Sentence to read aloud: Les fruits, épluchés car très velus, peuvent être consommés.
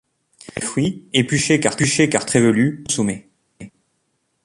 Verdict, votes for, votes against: rejected, 0, 2